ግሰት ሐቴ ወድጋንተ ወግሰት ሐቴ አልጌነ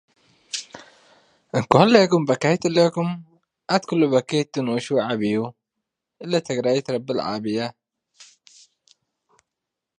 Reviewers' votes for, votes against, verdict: 0, 2, rejected